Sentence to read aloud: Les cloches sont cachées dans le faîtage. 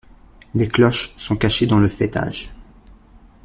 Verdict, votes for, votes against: accepted, 2, 0